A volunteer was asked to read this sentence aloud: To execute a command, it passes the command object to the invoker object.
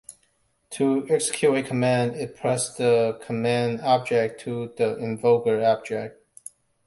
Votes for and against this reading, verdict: 0, 2, rejected